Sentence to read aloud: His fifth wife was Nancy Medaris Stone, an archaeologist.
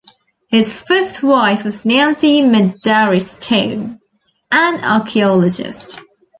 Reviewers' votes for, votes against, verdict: 1, 2, rejected